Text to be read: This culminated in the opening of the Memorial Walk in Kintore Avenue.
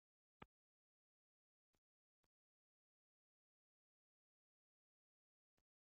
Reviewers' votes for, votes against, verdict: 0, 2, rejected